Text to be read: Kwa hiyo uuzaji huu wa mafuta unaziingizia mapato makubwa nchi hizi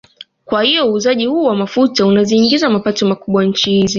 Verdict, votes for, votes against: accepted, 2, 0